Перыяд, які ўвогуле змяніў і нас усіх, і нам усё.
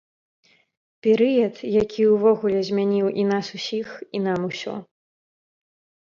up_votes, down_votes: 2, 0